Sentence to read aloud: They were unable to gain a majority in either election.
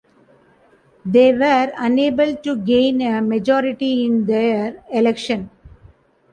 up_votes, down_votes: 1, 2